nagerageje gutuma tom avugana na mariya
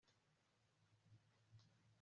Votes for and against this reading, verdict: 0, 2, rejected